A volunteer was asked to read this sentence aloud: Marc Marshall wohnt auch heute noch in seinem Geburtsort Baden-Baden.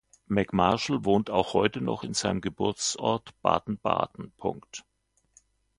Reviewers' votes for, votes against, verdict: 1, 2, rejected